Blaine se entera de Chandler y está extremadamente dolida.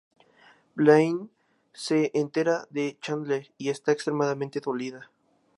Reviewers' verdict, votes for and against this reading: accepted, 6, 0